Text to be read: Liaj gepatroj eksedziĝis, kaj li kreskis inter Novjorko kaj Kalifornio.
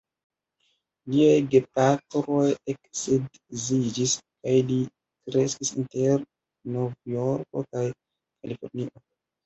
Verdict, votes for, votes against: rejected, 1, 2